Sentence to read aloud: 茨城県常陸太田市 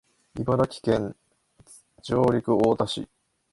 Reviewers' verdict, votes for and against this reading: rejected, 1, 2